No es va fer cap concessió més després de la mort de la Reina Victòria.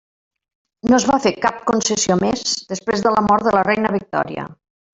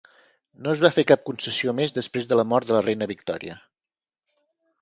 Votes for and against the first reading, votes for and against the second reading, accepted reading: 0, 2, 4, 0, second